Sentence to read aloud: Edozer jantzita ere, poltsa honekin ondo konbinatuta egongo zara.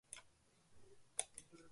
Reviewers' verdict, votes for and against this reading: rejected, 0, 2